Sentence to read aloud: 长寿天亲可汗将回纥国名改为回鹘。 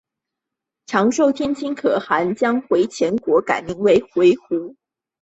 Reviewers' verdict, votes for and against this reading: accepted, 2, 1